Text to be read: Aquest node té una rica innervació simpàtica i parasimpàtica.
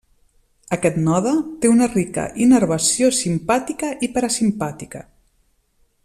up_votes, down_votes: 2, 0